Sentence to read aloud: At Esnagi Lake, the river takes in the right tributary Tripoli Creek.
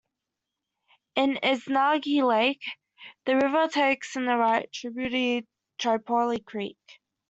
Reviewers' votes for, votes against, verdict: 1, 2, rejected